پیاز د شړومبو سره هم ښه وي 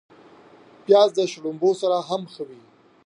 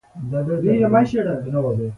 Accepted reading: first